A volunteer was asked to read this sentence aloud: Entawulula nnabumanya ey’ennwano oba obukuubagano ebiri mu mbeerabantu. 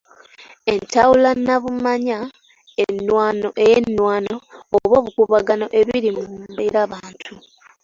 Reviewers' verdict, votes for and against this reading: rejected, 1, 2